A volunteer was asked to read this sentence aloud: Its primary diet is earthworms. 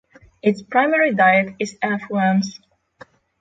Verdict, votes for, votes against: rejected, 3, 3